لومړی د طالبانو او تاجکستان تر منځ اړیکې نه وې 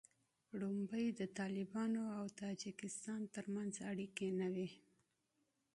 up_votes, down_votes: 2, 0